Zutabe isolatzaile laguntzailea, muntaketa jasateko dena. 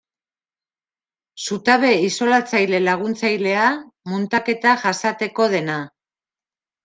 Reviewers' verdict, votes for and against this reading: accepted, 2, 1